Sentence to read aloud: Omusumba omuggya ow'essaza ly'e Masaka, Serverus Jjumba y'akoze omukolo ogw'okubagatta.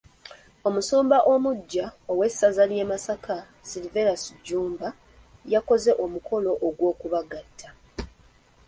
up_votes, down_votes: 2, 0